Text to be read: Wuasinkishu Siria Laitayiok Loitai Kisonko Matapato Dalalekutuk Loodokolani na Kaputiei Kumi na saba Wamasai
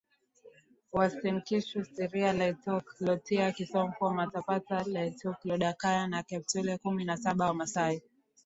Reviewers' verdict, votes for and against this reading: rejected, 0, 2